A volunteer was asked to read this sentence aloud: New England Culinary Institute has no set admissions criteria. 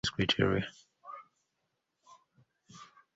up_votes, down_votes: 0, 2